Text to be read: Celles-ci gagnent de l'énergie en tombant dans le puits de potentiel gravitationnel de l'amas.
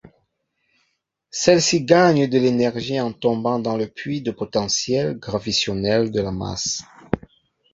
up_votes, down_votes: 1, 2